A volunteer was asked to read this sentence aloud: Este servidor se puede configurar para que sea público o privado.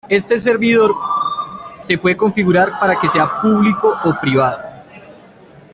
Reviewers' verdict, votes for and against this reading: accepted, 2, 1